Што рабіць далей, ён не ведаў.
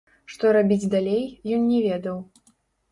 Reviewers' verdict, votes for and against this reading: rejected, 0, 2